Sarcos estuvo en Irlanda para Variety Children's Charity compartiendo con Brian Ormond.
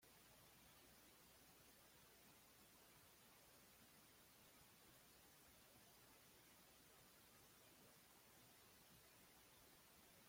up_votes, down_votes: 1, 2